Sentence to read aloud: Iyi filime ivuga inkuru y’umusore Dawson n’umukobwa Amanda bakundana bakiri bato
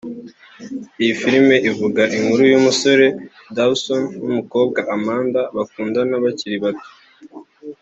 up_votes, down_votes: 2, 0